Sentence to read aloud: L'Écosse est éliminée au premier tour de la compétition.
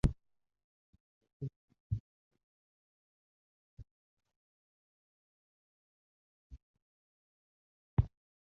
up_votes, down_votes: 0, 2